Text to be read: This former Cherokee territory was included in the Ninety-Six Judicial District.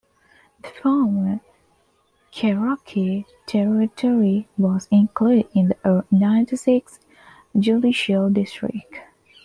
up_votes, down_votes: 2, 1